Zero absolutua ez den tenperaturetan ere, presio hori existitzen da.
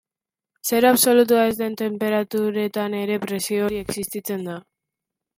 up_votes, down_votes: 3, 0